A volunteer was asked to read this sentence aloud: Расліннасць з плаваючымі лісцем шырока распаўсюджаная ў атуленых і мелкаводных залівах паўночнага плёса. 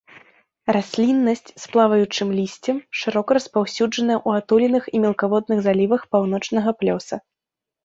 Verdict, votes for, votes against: rejected, 0, 2